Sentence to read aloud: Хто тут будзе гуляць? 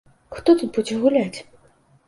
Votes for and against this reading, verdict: 2, 0, accepted